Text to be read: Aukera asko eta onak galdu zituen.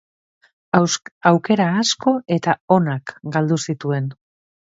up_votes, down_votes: 0, 4